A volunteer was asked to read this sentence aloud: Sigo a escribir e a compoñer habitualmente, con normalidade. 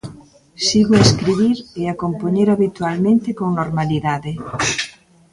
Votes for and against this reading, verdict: 1, 2, rejected